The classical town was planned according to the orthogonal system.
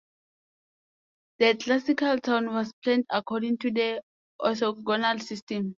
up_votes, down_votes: 2, 1